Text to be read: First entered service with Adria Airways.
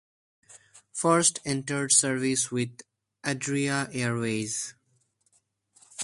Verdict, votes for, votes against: accepted, 4, 2